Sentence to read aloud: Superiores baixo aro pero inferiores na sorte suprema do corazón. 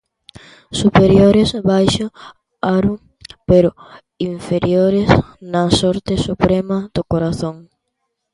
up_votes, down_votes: 2, 1